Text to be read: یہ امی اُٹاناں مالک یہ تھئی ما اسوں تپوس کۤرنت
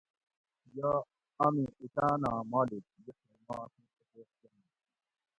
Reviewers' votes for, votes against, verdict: 0, 2, rejected